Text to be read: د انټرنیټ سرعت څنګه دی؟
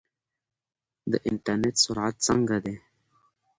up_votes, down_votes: 2, 0